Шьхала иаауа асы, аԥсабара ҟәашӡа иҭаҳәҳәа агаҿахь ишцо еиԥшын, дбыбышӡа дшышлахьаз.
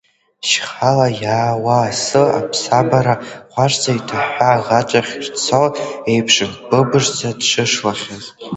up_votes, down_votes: 2, 1